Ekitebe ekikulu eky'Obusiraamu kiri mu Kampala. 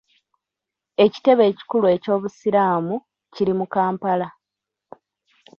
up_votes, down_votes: 1, 2